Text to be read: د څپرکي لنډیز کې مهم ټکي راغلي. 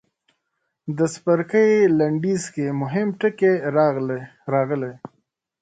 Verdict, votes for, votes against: rejected, 1, 2